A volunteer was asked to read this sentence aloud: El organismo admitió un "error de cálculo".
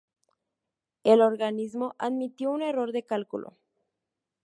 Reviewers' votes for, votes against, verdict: 0, 2, rejected